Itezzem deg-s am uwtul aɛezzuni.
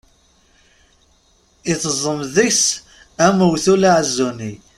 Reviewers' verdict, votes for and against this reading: rejected, 1, 2